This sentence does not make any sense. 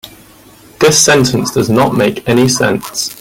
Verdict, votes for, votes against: accepted, 3, 0